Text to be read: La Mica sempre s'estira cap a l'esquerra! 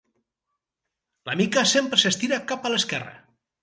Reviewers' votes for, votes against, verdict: 2, 2, rejected